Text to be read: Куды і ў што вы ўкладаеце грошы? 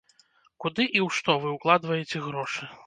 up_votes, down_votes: 0, 2